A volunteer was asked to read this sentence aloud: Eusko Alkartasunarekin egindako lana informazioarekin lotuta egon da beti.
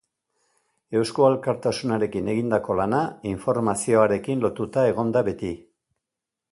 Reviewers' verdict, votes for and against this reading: accepted, 2, 0